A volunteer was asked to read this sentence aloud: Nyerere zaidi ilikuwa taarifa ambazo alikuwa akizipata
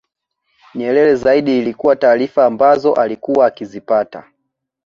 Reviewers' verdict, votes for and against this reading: accepted, 2, 0